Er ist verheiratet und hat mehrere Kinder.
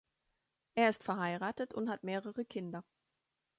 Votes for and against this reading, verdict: 2, 0, accepted